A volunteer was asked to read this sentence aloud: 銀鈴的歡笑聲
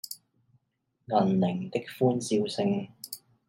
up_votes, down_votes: 2, 0